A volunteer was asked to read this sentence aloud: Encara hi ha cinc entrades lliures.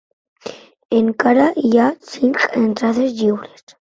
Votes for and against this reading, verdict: 1, 2, rejected